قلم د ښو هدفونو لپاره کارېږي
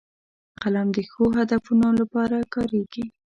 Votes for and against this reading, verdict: 2, 0, accepted